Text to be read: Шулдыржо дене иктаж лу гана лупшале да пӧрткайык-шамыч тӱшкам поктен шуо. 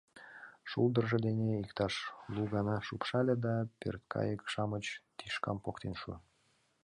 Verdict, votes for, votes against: accepted, 2, 0